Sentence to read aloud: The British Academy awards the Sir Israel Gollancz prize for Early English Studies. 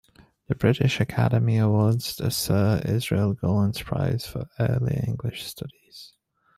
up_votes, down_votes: 2, 1